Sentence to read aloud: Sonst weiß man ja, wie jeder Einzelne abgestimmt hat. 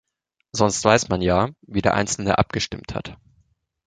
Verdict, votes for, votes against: rejected, 1, 2